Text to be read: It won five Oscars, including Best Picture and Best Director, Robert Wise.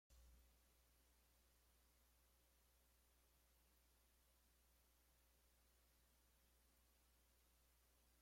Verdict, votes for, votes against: rejected, 0, 2